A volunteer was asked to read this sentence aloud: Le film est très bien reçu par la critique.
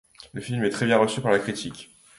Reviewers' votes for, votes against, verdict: 2, 0, accepted